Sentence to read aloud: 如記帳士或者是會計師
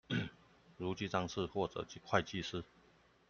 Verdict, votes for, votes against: accepted, 2, 0